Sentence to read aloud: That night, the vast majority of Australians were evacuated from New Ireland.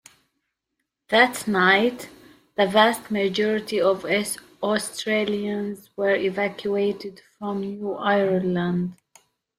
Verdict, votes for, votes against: rejected, 0, 2